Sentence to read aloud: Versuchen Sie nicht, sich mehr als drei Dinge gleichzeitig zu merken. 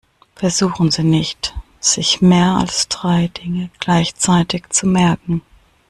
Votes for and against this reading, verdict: 2, 0, accepted